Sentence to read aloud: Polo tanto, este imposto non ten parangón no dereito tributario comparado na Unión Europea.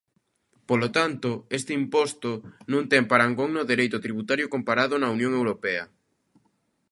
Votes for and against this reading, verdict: 2, 0, accepted